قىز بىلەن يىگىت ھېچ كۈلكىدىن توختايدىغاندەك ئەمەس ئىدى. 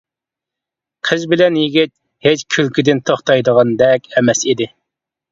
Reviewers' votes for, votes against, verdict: 2, 0, accepted